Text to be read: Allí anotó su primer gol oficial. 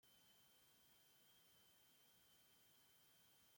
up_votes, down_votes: 0, 2